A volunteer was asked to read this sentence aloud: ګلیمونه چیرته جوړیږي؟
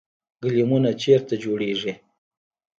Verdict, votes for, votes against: rejected, 0, 2